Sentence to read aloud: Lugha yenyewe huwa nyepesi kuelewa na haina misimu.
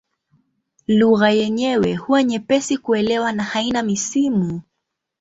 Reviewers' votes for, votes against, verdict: 2, 0, accepted